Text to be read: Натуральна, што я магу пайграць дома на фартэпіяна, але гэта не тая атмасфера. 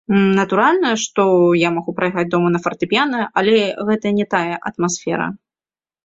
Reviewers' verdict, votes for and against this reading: accepted, 2, 1